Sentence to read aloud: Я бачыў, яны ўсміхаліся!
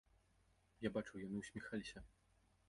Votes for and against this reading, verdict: 0, 2, rejected